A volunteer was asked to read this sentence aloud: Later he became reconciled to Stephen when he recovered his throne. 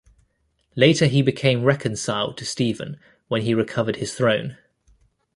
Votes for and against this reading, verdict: 2, 0, accepted